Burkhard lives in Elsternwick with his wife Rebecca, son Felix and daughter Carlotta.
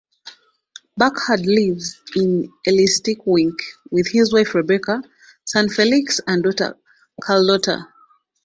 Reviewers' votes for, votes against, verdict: 0, 2, rejected